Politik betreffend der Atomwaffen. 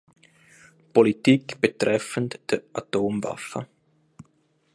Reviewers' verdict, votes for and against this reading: accepted, 2, 0